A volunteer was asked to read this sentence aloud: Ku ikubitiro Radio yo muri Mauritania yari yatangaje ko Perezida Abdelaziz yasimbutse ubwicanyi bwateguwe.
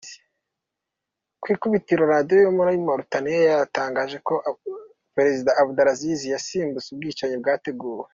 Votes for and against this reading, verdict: 2, 0, accepted